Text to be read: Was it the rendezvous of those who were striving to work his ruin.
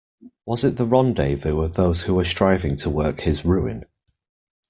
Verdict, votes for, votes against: accepted, 2, 0